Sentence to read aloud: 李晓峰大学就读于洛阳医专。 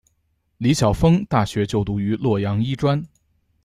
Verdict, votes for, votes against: accepted, 2, 1